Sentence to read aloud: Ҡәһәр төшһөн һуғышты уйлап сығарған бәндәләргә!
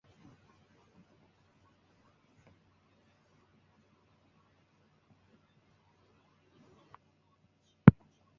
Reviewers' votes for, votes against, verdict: 0, 3, rejected